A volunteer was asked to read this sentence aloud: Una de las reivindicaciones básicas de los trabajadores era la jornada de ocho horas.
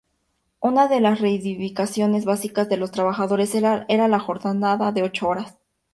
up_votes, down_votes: 2, 2